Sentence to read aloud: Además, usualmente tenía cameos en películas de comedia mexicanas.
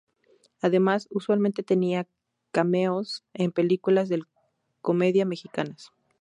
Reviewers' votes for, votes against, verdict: 0, 2, rejected